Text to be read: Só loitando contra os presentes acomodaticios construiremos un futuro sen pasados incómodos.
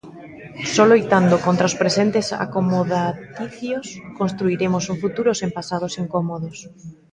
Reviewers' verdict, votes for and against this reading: accepted, 2, 0